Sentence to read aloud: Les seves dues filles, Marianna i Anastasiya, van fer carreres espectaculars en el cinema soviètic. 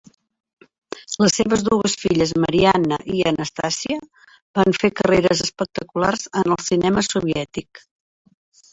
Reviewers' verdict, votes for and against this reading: rejected, 0, 2